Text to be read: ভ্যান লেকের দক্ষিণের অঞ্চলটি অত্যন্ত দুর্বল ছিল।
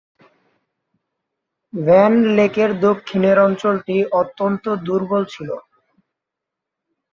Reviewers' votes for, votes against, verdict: 1, 2, rejected